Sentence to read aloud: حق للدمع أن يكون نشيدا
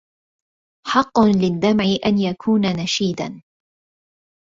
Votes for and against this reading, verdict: 0, 2, rejected